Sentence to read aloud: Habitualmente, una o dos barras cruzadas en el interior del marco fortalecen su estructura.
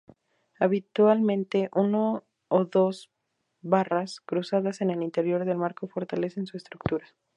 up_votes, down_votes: 2, 2